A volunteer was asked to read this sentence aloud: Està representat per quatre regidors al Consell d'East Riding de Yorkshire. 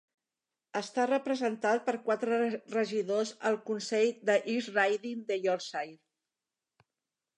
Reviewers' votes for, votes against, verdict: 0, 2, rejected